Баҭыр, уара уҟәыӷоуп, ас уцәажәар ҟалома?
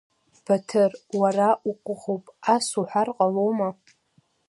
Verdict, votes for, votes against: accepted, 2, 0